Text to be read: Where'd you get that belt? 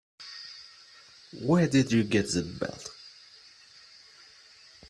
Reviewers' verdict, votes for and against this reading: rejected, 1, 2